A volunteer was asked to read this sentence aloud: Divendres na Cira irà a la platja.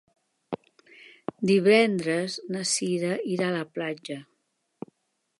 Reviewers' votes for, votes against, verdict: 2, 1, accepted